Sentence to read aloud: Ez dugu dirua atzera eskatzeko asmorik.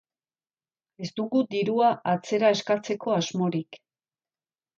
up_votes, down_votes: 2, 0